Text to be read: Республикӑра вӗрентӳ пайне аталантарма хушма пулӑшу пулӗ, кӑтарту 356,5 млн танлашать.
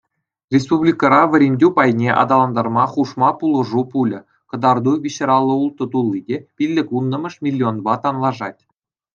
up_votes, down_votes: 0, 2